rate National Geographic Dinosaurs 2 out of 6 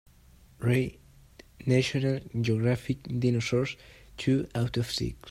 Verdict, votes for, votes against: rejected, 0, 2